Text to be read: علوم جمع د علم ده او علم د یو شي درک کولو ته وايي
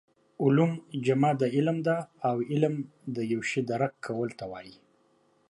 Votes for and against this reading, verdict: 2, 0, accepted